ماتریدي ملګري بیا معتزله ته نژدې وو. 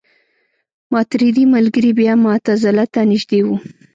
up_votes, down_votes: 2, 1